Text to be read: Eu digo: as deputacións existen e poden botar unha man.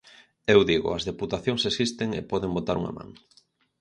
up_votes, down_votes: 4, 0